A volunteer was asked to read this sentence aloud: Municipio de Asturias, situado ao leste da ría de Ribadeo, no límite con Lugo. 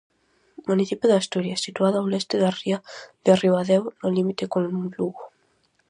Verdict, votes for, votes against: rejected, 2, 2